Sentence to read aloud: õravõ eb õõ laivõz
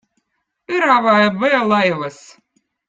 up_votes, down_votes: 2, 0